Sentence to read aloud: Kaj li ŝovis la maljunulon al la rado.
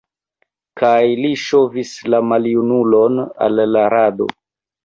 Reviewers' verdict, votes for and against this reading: rejected, 0, 2